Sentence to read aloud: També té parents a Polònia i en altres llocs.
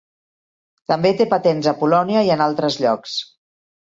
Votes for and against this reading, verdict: 0, 3, rejected